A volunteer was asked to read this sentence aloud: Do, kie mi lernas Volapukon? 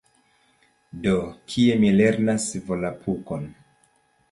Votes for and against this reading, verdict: 2, 0, accepted